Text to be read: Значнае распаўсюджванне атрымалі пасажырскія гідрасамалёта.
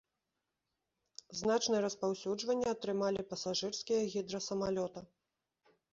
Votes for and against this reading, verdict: 2, 0, accepted